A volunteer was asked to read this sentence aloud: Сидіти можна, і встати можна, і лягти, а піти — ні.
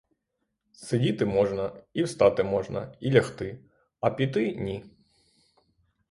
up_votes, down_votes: 3, 0